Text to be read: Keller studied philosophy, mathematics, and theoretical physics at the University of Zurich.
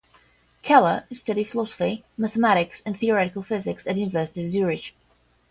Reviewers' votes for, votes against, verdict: 0, 5, rejected